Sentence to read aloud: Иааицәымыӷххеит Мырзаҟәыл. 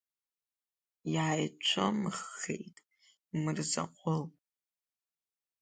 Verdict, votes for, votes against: accepted, 3, 0